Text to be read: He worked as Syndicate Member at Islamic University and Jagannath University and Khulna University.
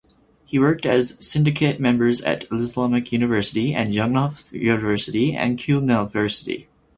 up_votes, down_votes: 0, 4